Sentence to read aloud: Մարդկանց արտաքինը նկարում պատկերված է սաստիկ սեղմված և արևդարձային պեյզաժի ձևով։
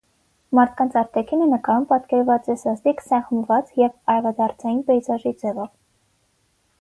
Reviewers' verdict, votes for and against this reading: rejected, 3, 3